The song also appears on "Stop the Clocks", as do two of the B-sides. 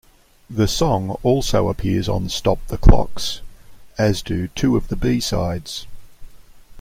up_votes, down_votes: 2, 0